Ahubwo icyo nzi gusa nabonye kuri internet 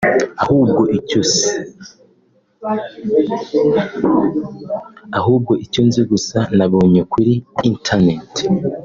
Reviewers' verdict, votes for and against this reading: rejected, 0, 2